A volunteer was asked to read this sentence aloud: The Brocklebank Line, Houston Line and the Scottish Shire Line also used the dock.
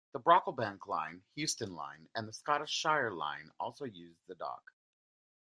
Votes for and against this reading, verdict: 2, 0, accepted